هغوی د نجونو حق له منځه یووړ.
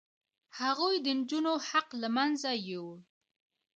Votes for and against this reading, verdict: 2, 0, accepted